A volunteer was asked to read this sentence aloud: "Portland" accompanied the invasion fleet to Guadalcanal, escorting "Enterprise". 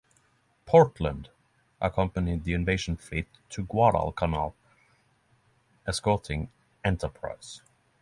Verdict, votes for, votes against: accepted, 3, 0